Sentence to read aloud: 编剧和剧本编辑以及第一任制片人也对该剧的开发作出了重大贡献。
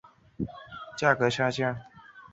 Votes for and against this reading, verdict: 2, 0, accepted